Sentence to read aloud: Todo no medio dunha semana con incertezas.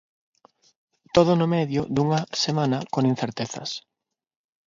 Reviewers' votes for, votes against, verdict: 6, 0, accepted